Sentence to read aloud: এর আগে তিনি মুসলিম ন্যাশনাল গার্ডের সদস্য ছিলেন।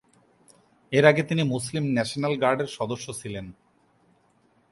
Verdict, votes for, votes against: accepted, 2, 0